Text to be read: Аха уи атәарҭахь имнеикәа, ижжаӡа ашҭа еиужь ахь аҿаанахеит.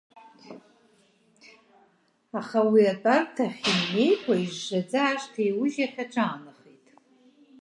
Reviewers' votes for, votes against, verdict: 0, 2, rejected